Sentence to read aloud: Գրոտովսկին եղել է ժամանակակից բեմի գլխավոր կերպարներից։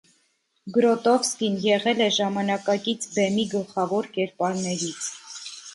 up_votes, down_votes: 0, 2